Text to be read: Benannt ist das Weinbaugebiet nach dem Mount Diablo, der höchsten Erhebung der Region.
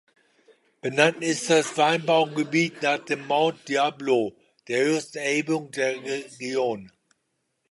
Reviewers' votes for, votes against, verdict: 2, 0, accepted